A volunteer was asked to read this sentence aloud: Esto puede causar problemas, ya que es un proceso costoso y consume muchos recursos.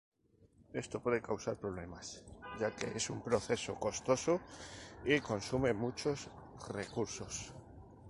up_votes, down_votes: 0, 2